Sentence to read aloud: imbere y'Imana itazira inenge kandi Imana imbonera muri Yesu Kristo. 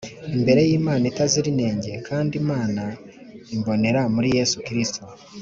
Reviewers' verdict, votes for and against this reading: accepted, 3, 0